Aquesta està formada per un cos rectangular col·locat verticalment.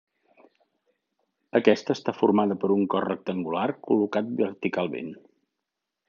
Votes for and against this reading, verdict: 2, 0, accepted